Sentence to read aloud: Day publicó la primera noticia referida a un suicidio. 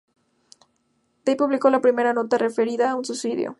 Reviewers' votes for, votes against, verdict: 0, 2, rejected